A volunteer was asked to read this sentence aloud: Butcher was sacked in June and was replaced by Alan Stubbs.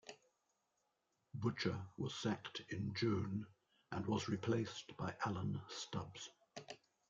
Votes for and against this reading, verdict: 2, 0, accepted